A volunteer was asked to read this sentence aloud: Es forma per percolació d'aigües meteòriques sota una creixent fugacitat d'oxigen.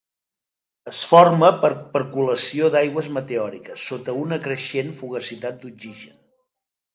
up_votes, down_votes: 2, 0